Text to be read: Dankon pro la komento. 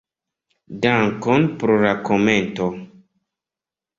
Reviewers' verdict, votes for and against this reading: accepted, 2, 0